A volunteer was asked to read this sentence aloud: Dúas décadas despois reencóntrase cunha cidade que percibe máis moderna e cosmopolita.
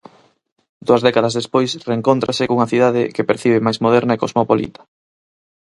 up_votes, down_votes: 4, 0